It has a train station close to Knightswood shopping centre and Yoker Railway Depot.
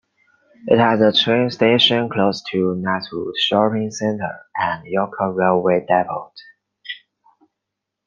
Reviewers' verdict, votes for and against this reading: accepted, 2, 1